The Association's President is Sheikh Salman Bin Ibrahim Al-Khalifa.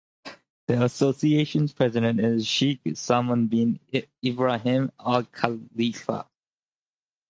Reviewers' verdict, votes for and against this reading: accepted, 10, 0